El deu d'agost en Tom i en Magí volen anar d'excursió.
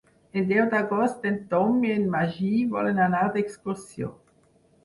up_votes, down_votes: 12, 0